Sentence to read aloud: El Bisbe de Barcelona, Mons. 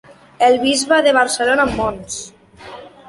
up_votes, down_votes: 2, 0